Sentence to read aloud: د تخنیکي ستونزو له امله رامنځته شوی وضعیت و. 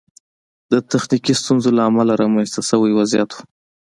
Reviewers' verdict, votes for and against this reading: accepted, 2, 0